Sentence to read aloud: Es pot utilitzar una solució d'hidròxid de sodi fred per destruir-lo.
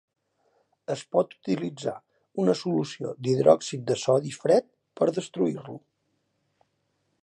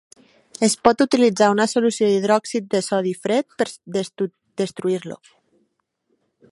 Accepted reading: first